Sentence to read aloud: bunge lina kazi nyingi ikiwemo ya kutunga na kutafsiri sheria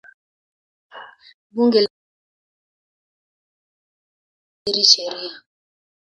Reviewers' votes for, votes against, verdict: 0, 2, rejected